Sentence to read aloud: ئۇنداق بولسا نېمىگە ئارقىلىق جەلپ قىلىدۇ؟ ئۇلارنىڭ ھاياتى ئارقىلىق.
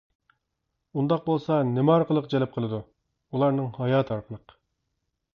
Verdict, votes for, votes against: rejected, 1, 2